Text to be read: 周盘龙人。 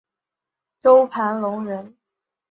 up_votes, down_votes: 2, 0